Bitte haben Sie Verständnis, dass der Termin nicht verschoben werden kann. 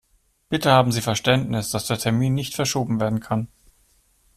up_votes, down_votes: 0, 2